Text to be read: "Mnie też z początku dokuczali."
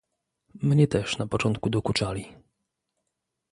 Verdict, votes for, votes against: rejected, 0, 2